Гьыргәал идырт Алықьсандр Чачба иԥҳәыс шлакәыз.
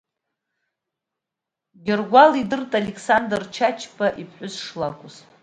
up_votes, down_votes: 2, 0